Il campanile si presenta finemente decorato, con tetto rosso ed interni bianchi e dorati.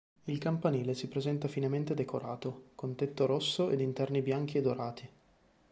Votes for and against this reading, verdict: 3, 0, accepted